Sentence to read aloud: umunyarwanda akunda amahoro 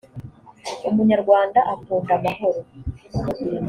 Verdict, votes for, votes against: accepted, 2, 0